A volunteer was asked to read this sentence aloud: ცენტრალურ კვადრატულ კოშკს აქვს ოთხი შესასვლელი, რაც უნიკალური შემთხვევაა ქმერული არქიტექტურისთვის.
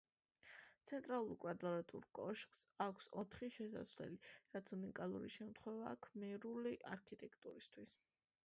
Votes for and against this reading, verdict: 2, 0, accepted